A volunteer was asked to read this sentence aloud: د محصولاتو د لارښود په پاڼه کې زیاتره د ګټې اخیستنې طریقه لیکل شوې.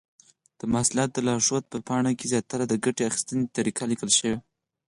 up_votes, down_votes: 4, 2